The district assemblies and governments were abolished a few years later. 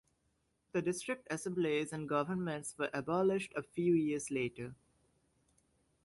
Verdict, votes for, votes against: accepted, 2, 0